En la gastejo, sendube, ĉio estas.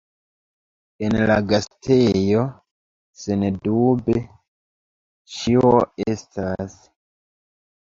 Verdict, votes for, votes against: rejected, 0, 2